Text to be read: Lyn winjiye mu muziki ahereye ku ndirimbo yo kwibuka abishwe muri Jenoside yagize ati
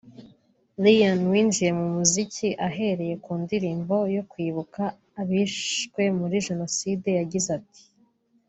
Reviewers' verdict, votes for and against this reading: accepted, 2, 0